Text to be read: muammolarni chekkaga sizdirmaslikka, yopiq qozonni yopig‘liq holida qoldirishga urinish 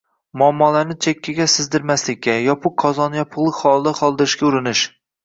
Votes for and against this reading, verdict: 2, 1, accepted